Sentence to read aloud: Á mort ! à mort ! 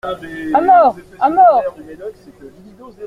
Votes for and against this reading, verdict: 2, 0, accepted